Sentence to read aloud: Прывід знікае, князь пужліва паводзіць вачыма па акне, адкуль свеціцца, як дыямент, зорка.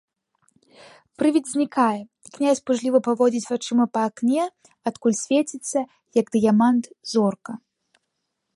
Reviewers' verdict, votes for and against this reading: rejected, 0, 2